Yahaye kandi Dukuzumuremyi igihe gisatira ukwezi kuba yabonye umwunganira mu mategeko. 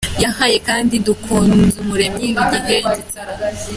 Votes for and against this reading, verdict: 0, 2, rejected